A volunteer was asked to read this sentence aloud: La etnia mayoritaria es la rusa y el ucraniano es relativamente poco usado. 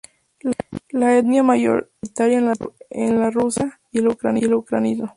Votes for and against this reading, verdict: 0, 2, rejected